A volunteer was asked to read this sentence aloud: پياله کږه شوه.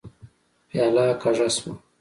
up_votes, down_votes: 2, 0